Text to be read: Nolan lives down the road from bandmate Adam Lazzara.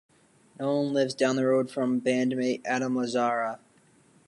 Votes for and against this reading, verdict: 2, 0, accepted